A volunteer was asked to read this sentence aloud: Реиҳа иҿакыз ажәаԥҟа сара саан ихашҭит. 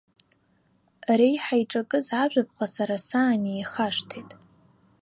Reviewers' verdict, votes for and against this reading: accepted, 2, 1